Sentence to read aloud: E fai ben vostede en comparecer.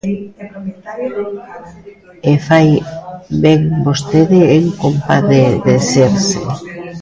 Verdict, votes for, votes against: rejected, 0, 2